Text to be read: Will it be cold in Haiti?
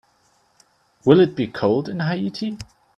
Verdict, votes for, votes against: accepted, 2, 0